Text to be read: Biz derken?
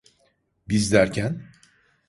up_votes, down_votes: 2, 0